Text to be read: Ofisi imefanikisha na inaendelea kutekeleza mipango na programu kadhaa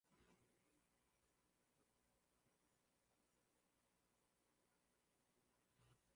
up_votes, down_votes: 1, 10